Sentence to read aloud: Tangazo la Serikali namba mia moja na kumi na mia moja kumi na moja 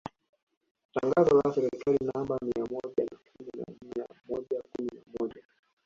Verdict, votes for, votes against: rejected, 0, 2